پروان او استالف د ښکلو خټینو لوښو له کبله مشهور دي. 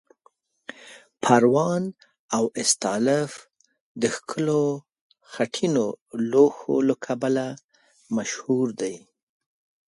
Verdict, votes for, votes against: rejected, 1, 4